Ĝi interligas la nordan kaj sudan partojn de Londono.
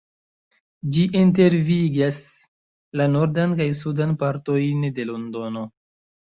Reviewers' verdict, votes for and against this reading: rejected, 0, 2